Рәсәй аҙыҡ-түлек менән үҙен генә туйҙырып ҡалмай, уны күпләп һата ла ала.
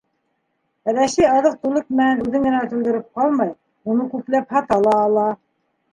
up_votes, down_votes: 2, 0